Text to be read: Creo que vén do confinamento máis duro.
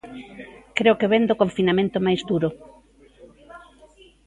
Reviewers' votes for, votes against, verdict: 0, 2, rejected